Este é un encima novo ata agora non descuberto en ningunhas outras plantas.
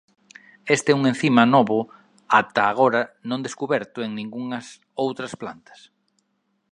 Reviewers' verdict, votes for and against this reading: accepted, 2, 0